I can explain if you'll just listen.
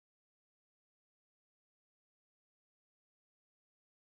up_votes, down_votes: 0, 2